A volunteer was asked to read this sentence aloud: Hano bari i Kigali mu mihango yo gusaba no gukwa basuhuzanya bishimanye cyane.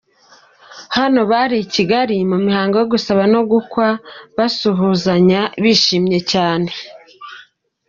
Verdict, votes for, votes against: rejected, 0, 2